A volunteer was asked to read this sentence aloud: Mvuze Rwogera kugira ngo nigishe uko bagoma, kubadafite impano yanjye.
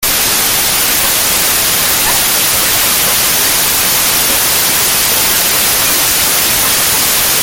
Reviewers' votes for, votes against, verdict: 0, 2, rejected